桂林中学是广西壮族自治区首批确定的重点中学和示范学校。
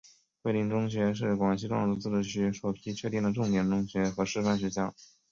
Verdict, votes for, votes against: accepted, 4, 1